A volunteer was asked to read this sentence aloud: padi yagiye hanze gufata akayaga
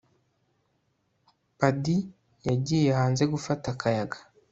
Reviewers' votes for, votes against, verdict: 2, 0, accepted